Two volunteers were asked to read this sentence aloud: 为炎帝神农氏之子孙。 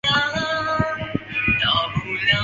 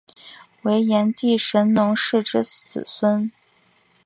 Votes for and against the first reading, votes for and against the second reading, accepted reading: 0, 3, 2, 1, second